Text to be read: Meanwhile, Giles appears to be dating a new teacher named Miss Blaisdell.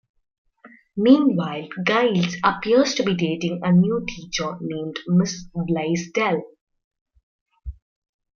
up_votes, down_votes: 0, 2